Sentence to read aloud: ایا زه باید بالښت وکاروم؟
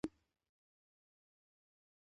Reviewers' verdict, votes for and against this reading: rejected, 0, 2